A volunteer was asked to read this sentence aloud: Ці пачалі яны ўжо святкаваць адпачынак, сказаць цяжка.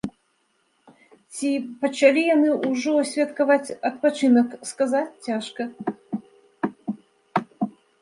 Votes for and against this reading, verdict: 2, 0, accepted